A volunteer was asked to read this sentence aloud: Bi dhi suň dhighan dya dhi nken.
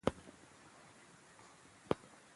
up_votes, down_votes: 1, 2